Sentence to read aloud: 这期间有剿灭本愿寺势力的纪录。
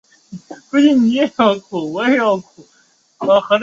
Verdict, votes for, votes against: rejected, 0, 2